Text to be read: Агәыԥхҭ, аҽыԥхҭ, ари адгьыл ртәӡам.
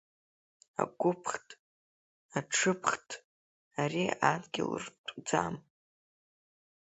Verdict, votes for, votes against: accepted, 2, 0